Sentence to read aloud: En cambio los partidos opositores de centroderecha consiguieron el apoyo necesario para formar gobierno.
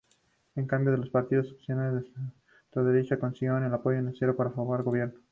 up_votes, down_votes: 0, 2